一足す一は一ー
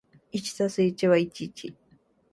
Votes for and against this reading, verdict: 2, 1, accepted